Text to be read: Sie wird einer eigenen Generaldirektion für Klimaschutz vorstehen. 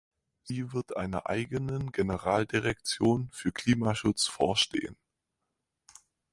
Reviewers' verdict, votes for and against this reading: accepted, 4, 0